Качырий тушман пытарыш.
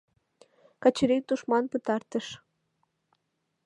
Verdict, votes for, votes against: rejected, 1, 2